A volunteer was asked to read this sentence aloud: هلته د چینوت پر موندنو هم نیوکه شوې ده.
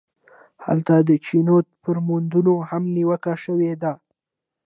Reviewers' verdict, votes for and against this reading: accepted, 2, 1